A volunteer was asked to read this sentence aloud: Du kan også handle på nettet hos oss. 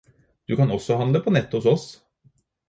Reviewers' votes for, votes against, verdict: 4, 0, accepted